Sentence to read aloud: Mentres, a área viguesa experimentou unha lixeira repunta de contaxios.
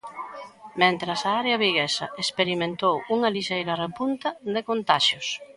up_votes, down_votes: 1, 2